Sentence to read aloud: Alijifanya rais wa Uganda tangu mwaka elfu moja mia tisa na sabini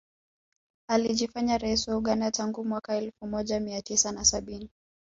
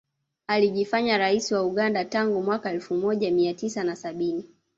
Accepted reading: first